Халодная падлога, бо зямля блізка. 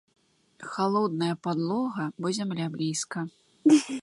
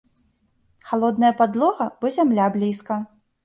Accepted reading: second